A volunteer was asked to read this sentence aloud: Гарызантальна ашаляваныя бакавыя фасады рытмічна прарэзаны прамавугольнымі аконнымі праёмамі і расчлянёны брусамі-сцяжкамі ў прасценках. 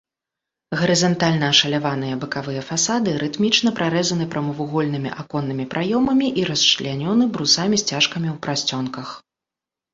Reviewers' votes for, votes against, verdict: 1, 2, rejected